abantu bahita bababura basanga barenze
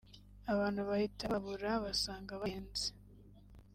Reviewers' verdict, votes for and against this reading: accepted, 2, 1